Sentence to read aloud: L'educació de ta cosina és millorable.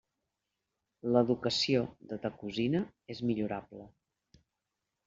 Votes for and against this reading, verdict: 3, 0, accepted